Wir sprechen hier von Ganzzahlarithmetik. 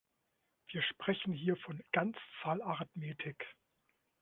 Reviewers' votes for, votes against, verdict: 1, 2, rejected